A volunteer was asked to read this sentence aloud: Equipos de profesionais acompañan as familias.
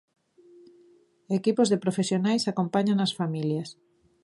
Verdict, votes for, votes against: accepted, 2, 0